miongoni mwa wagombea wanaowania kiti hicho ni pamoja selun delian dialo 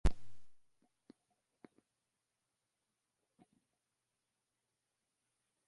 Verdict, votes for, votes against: rejected, 0, 3